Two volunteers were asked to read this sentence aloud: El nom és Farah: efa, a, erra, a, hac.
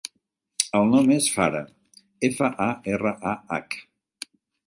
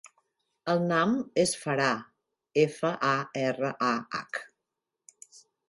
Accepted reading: first